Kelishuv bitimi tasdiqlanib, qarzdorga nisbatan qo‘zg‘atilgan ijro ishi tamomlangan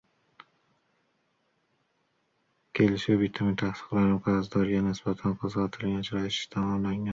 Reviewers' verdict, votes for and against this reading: rejected, 1, 2